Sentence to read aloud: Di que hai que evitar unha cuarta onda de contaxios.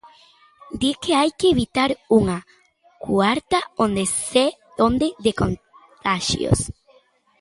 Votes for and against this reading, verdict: 0, 2, rejected